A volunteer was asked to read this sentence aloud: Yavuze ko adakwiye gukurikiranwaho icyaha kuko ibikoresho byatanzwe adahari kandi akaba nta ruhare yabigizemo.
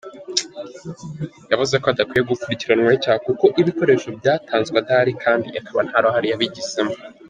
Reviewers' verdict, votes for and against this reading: accepted, 2, 1